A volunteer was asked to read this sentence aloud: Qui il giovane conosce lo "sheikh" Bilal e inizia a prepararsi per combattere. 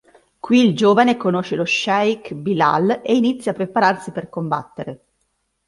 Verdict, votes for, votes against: accepted, 2, 0